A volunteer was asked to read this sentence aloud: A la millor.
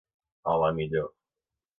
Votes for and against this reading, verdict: 2, 0, accepted